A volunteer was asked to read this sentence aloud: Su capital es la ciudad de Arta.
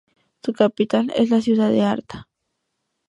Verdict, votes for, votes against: accepted, 2, 0